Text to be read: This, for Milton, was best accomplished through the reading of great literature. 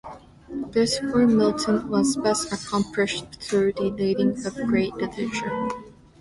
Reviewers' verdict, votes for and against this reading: accepted, 2, 0